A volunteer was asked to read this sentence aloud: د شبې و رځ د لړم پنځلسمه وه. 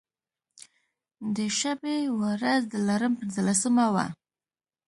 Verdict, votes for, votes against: accepted, 2, 0